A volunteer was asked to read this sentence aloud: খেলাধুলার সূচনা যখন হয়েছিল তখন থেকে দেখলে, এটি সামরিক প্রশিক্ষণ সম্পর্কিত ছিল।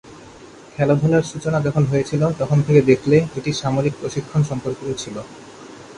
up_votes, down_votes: 0, 2